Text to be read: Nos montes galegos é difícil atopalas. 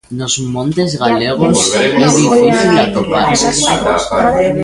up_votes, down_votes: 0, 2